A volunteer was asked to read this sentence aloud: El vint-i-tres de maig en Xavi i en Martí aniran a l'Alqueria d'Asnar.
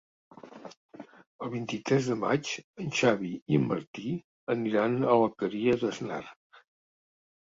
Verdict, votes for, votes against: rejected, 0, 2